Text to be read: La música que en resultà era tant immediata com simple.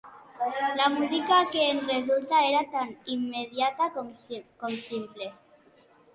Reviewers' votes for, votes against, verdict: 0, 2, rejected